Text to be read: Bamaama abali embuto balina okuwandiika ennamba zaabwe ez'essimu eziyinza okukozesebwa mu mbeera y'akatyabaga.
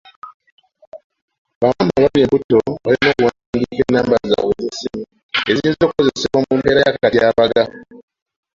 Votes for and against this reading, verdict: 0, 2, rejected